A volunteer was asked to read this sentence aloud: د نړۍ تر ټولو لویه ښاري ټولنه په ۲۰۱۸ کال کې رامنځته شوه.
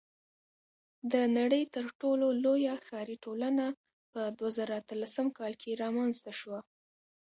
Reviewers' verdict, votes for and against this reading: rejected, 0, 2